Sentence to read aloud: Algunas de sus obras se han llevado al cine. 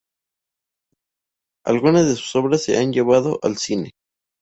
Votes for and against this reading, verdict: 0, 2, rejected